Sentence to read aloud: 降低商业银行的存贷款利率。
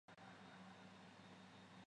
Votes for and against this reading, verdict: 0, 2, rejected